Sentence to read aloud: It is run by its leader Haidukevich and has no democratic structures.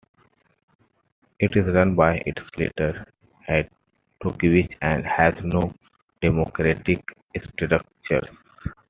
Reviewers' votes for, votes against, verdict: 0, 2, rejected